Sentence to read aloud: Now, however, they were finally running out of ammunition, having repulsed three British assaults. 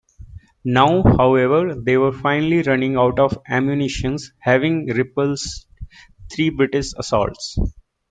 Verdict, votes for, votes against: accepted, 2, 1